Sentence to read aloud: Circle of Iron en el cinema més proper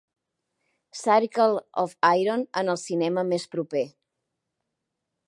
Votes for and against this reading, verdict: 3, 0, accepted